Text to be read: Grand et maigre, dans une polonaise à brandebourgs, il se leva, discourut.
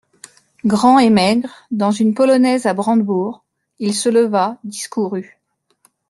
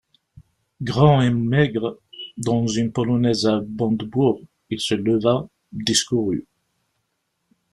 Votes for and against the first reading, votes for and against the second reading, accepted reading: 3, 0, 1, 2, first